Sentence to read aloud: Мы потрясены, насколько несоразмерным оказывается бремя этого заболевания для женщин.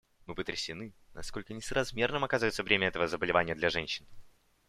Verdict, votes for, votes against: accepted, 2, 0